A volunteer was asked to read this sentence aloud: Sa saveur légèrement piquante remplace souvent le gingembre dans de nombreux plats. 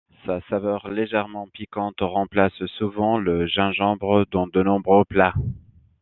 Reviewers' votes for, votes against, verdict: 2, 0, accepted